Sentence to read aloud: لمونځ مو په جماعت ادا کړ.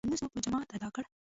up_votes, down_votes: 2, 0